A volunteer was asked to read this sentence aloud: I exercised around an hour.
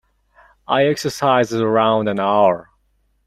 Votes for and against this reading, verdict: 2, 0, accepted